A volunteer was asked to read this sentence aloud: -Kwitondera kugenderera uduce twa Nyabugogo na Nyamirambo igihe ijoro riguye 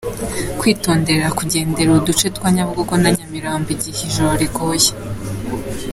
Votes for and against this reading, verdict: 3, 0, accepted